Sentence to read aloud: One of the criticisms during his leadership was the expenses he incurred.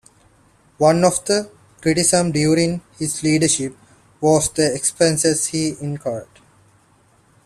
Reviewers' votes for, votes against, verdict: 2, 0, accepted